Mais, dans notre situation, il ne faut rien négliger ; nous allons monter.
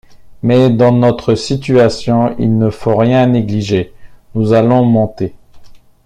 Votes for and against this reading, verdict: 1, 2, rejected